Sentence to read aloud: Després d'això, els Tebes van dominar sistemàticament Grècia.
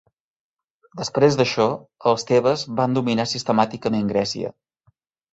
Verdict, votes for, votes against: accepted, 3, 1